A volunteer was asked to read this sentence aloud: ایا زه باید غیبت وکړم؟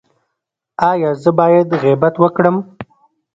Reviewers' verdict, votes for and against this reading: rejected, 1, 2